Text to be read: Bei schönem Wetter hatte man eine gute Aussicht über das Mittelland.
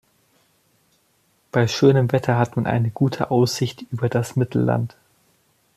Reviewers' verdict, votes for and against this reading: rejected, 1, 2